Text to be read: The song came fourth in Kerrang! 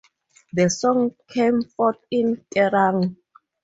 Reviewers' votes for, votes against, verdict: 2, 0, accepted